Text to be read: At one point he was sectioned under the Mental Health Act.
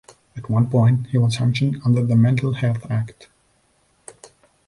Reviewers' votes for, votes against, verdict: 2, 0, accepted